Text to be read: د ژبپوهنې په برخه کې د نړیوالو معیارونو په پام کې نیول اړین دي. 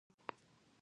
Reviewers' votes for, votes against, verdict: 0, 2, rejected